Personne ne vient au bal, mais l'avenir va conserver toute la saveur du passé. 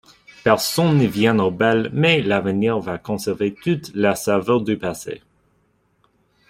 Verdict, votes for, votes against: rejected, 0, 2